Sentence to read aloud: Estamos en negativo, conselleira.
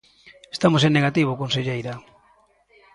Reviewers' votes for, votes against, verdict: 2, 0, accepted